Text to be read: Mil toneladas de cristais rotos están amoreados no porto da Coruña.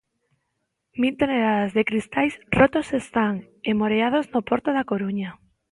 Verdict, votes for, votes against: rejected, 1, 2